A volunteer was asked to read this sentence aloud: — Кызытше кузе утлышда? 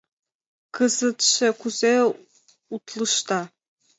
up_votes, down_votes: 2, 0